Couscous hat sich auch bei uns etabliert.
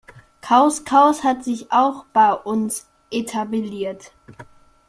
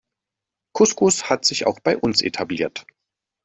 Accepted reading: second